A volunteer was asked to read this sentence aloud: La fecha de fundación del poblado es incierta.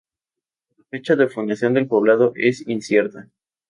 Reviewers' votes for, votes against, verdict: 2, 0, accepted